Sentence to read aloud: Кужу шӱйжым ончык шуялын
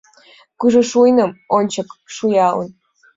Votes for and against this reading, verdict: 0, 2, rejected